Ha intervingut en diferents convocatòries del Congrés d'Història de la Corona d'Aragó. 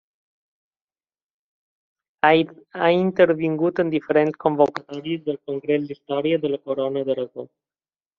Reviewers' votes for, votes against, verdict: 0, 2, rejected